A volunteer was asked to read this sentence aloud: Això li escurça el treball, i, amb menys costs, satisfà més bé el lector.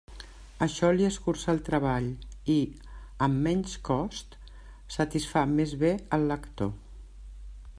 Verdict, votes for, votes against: accepted, 2, 0